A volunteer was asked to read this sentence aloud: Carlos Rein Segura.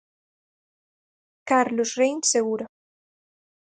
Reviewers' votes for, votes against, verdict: 4, 0, accepted